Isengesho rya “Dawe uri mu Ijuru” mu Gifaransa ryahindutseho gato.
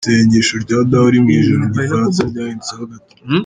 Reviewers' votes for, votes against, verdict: 0, 2, rejected